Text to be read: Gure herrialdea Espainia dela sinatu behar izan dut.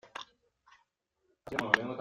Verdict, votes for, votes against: rejected, 0, 2